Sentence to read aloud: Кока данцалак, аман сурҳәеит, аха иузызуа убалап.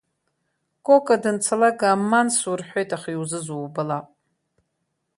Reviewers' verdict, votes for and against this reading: rejected, 1, 3